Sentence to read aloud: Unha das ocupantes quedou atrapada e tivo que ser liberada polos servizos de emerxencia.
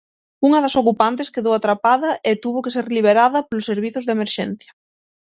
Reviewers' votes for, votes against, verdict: 0, 6, rejected